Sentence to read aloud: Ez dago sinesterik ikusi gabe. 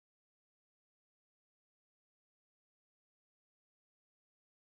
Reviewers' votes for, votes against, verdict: 0, 2, rejected